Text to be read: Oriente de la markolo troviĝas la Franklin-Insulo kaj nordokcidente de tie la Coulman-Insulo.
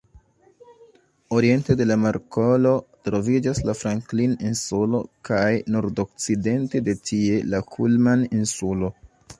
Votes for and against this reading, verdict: 1, 2, rejected